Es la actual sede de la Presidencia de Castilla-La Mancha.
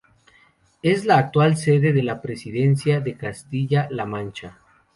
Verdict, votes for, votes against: accepted, 4, 0